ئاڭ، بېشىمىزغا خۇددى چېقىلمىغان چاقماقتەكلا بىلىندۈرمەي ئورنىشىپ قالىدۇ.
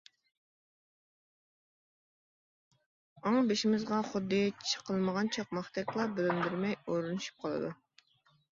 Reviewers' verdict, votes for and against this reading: rejected, 1, 2